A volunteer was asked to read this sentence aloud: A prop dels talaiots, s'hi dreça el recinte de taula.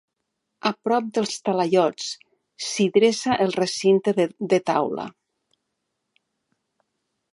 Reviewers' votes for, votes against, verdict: 1, 2, rejected